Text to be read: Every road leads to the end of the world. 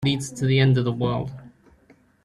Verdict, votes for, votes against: rejected, 0, 2